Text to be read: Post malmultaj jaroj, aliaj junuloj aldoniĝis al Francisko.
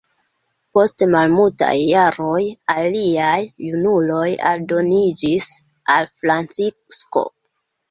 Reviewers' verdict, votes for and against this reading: rejected, 2, 3